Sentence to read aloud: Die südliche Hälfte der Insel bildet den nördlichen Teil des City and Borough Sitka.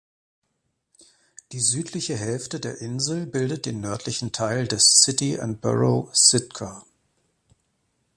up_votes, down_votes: 2, 0